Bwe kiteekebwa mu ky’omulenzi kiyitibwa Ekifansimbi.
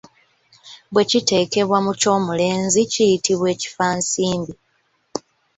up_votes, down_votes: 2, 0